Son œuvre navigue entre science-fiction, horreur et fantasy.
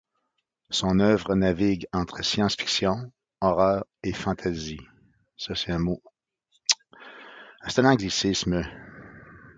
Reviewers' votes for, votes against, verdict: 1, 2, rejected